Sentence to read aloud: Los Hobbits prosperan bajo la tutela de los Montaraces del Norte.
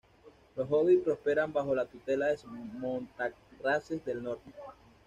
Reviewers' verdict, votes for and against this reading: accepted, 2, 1